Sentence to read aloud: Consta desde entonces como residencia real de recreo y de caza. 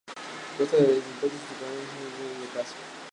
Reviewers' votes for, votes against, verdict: 0, 2, rejected